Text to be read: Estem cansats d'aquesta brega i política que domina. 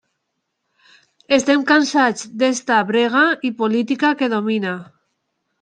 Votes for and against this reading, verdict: 1, 2, rejected